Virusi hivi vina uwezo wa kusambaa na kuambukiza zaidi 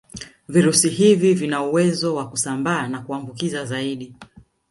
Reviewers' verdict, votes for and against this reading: rejected, 1, 2